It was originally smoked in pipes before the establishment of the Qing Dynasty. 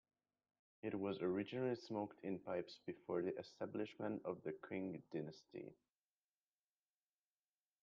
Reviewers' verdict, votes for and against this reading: rejected, 1, 2